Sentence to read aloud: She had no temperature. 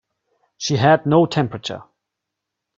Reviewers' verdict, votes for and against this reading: accepted, 2, 0